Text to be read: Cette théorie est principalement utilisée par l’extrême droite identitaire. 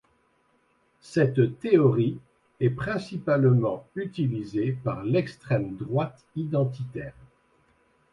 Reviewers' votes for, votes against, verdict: 2, 0, accepted